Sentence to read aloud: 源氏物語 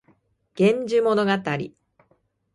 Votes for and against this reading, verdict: 0, 2, rejected